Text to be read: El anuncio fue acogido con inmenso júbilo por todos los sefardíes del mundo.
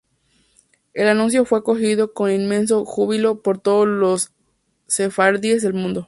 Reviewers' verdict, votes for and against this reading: rejected, 0, 2